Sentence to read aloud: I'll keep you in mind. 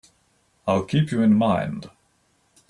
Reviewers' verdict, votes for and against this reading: accepted, 2, 0